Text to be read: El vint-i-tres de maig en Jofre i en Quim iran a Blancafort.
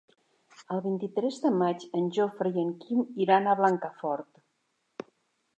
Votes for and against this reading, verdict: 4, 0, accepted